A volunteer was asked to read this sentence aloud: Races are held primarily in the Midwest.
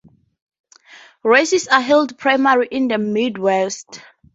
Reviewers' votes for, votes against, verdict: 0, 2, rejected